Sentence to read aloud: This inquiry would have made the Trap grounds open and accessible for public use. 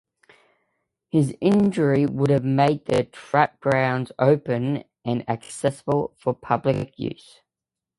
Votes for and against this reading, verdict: 0, 2, rejected